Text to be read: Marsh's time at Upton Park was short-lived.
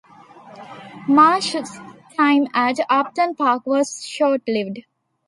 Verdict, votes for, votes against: accepted, 2, 0